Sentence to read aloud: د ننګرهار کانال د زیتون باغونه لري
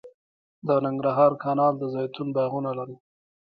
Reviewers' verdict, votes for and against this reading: rejected, 0, 2